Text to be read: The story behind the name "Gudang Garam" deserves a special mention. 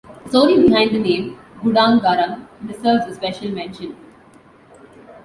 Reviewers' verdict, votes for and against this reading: accepted, 2, 0